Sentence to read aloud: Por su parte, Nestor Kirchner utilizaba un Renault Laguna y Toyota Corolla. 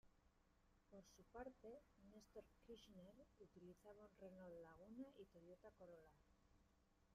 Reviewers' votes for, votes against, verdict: 0, 2, rejected